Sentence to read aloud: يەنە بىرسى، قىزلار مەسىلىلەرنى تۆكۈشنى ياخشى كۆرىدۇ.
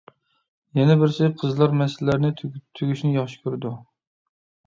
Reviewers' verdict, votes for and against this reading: rejected, 0, 2